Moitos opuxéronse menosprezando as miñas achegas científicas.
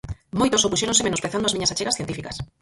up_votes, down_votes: 0, 4